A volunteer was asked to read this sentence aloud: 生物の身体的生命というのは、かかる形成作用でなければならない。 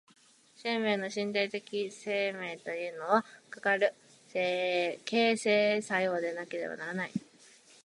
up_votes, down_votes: 0, 2